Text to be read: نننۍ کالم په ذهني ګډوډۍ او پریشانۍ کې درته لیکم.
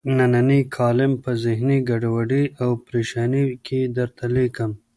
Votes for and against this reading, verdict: 0, 2, rejected